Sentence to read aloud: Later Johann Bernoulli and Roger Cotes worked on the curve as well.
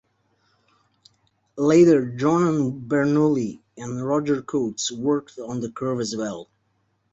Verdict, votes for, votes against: accepted, 2, 0